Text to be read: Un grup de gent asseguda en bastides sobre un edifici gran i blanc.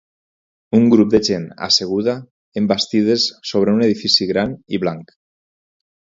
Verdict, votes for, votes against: accepted, 4, 0